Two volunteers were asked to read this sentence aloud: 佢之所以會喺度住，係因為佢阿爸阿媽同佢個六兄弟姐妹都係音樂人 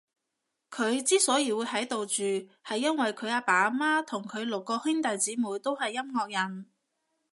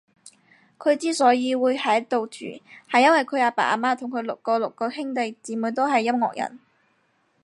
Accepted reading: first